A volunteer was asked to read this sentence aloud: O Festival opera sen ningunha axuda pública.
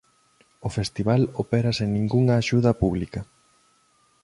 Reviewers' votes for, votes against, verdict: 2, 0, accepted